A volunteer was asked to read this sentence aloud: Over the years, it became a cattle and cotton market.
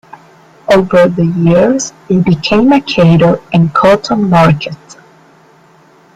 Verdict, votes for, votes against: rejected, 1, 2